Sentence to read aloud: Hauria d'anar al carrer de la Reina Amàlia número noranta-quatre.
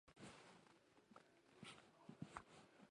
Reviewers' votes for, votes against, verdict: 0, 2, rejected